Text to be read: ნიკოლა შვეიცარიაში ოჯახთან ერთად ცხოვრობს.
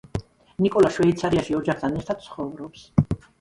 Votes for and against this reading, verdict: 1, 2, rejected